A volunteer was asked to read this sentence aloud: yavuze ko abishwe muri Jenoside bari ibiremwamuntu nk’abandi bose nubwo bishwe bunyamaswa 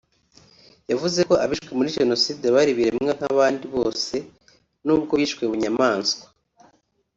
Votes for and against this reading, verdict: 1, 2, rejected